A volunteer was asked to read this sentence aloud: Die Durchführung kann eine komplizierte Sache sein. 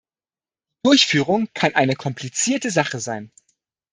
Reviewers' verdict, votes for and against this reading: rejected, 0, 2